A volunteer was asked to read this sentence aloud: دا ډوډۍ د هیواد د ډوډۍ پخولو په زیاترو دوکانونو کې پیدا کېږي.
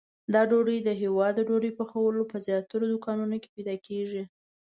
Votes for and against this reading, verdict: 2, 0, accepted